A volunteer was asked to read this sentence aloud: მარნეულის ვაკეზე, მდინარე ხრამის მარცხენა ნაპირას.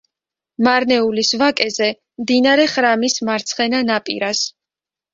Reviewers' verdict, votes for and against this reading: accepted, 2, 0